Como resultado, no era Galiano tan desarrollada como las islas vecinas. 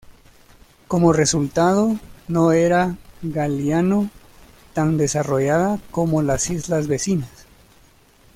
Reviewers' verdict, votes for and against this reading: rejected, 0, 2